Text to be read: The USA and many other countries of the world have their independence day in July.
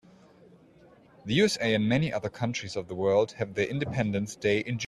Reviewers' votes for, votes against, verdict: 0, 2, rejected